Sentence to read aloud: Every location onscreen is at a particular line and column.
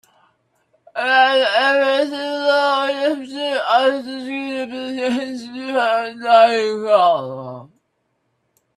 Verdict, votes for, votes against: rejected, 0, 2